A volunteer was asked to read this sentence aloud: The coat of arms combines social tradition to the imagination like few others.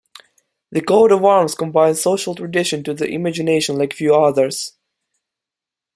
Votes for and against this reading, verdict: 2, 0, accepted